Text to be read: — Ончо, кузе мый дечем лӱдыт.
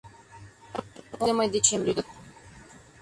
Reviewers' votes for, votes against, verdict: 0, 2, rejected